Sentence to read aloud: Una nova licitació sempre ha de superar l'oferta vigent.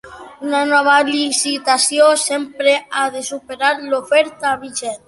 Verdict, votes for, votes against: accepted, 2, 0